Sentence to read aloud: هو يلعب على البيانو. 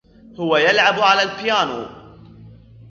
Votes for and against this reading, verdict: 1, 2, rejected